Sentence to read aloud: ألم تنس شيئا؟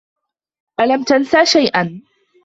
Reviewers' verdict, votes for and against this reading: accepted, 2, 0